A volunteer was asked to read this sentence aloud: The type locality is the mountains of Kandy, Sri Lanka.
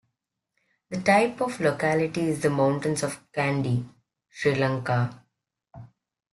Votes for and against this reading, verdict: 1, 2, rejected